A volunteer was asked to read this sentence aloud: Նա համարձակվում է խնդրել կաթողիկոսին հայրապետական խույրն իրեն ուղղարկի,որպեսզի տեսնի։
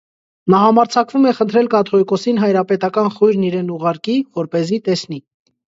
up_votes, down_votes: 2, 0